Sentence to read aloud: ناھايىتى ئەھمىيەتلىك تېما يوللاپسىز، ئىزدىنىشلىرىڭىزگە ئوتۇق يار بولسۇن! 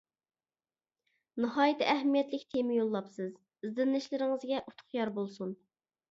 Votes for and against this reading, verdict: 2, 0, accepted